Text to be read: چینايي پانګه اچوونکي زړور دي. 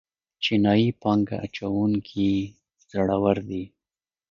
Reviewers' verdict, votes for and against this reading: rejected, 0, 2